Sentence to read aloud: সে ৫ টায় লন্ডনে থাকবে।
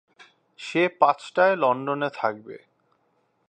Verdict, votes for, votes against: rejected, 0, 2